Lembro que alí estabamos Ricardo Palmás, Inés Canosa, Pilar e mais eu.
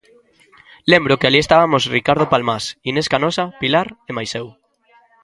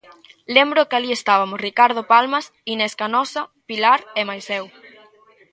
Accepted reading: first